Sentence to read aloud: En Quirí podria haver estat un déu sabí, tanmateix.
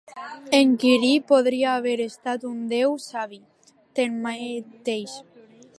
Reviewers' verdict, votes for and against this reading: rejected, 0, 3